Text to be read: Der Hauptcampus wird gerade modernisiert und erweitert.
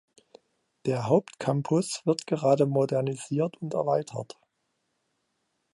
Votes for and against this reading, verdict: 2, 0, accepted